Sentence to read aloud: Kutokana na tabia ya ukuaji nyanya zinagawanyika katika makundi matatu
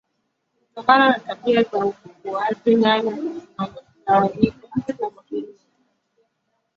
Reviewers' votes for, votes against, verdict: 0, 2, rejected